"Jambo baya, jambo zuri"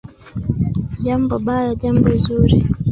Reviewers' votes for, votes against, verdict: 1, 2, rejected